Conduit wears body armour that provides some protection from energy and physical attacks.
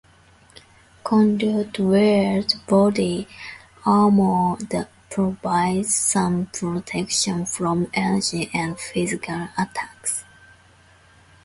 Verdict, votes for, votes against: rejected, 0, 2